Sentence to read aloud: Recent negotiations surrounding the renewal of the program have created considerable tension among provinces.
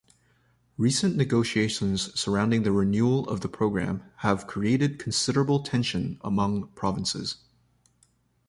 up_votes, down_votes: 2, 0